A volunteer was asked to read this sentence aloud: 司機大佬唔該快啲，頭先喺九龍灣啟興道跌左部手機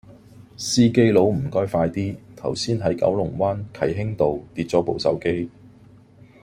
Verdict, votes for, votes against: rejected, 1, 2